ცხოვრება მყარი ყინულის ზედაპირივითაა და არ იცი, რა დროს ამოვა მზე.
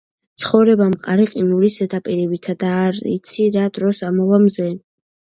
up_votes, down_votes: 2, 0